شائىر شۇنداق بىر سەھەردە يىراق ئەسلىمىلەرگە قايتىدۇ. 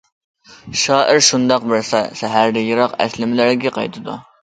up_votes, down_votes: 0, 2